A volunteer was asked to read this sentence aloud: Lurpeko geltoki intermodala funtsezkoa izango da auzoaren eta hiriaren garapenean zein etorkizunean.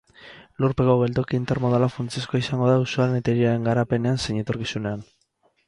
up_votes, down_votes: 4, 0